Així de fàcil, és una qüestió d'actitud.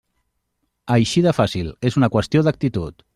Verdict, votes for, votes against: accepted, 3, 0